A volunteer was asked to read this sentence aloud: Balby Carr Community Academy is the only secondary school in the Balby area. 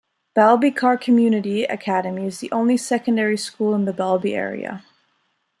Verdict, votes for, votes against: rejected, 1, 2